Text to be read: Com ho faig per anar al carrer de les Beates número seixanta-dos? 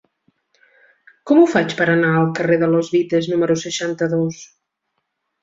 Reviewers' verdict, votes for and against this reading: rejected, 1, 2